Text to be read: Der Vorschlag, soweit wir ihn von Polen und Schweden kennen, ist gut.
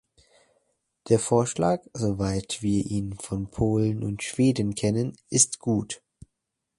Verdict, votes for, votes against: accepted, 2, 0